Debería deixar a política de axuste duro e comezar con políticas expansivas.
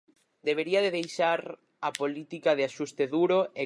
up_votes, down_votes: 0, 4